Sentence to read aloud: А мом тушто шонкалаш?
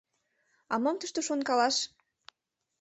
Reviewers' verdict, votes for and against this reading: accepted, 2, 0